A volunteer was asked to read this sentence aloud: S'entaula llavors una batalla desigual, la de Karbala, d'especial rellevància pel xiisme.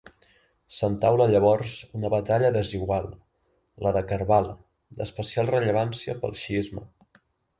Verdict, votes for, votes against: accepted, 3, 0